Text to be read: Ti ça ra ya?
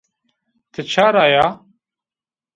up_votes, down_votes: 2, 0